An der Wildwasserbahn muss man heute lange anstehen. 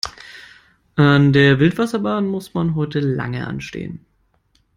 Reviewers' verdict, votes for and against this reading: accepted, 2, 0